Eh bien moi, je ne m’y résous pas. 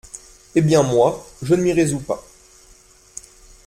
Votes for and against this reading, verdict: 2, 0, accepted